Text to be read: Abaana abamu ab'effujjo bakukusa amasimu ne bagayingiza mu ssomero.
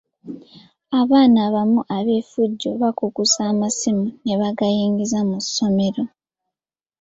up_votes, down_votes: 3, 0